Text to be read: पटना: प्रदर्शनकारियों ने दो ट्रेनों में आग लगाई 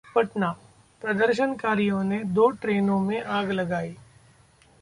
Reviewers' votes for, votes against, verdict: 2, 0, accepted